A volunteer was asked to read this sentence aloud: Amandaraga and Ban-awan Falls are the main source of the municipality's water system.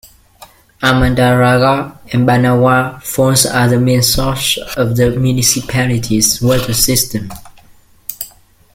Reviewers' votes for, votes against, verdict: 1, 2, rejected